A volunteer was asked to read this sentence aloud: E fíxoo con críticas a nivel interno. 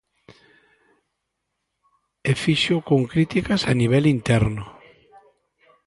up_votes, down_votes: 1, 2